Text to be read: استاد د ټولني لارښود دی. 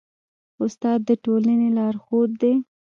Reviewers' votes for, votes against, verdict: 0, 2, rejected